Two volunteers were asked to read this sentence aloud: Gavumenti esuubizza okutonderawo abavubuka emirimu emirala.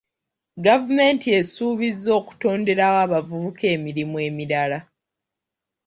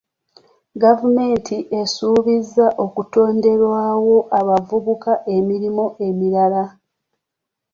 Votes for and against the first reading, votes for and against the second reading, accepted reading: 2, 0, 0, 3, first